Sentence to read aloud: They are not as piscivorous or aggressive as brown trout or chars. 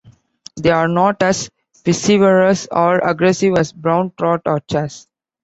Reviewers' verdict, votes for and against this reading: accepted, 2, 1